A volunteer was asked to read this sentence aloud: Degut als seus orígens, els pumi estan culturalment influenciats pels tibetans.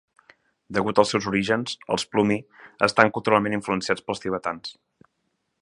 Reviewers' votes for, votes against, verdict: 1, 2, rejected